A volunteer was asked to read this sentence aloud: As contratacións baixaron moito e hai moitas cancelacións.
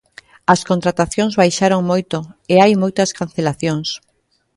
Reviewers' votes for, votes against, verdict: 2, 1, accepted